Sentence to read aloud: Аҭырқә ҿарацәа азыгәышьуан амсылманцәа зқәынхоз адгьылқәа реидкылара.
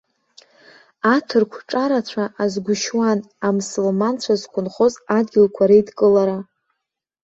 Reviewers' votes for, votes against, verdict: 2, 0, accepted